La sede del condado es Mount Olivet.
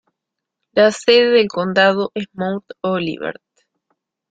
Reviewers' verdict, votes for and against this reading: accepted, 2, 1